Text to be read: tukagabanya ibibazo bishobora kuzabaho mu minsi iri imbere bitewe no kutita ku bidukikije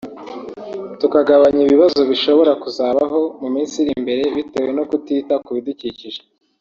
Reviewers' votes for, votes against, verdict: 2, 0, accepted